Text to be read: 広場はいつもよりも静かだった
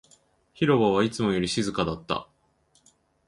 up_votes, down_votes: 2, 2